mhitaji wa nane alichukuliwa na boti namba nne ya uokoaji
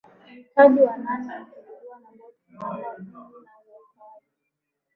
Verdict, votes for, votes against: rejected, 4, 4